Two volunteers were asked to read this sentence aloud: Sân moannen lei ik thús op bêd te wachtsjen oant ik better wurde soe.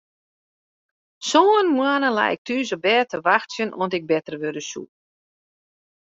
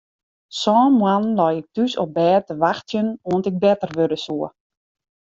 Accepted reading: first